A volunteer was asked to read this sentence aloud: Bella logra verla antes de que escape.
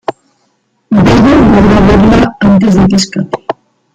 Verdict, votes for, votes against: rejected, 0, 2